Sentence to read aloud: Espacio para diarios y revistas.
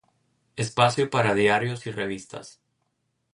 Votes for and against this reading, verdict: 2, 0, accepted